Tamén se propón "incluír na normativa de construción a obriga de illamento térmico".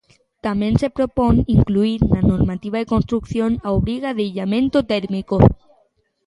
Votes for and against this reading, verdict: 2, 0, accepted